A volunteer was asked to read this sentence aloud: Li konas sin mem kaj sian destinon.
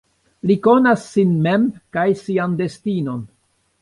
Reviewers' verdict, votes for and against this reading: accepted, 3, 1